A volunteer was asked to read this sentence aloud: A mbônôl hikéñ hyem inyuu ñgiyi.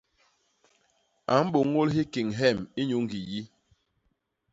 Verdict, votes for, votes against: rejected, 1, 2